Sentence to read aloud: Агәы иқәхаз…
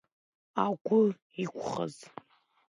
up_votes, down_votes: 1, 2